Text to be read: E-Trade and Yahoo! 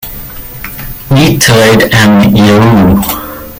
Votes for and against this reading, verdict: 3, 2, accepted